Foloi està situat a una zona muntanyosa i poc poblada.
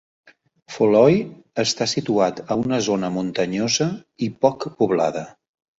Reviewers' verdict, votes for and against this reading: accepted, 2, 0